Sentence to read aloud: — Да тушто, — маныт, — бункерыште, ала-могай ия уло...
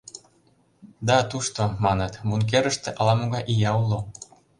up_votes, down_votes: 2, 0